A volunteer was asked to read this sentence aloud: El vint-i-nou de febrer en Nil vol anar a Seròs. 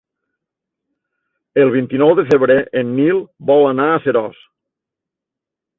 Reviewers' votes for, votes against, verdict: 3, 0, accepted